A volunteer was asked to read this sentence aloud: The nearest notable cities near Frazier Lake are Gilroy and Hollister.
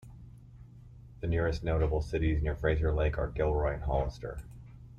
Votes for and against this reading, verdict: 1, 2, rejected